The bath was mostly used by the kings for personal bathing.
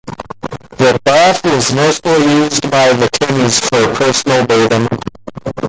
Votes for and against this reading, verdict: 0, 2, rejected